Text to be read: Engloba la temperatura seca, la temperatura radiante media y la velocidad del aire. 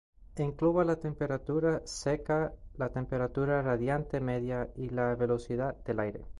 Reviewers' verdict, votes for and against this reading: accepted, 2, 0